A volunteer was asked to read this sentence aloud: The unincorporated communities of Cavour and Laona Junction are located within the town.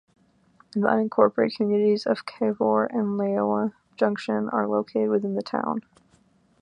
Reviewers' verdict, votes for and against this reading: accepted, 2, 0